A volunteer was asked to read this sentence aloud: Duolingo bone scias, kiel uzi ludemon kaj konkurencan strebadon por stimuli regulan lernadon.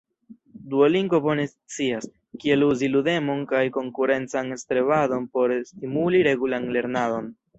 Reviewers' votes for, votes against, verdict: 1, 2, rejected